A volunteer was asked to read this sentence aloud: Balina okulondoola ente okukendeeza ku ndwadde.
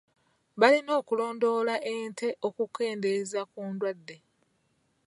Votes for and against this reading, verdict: 1, 3, rejected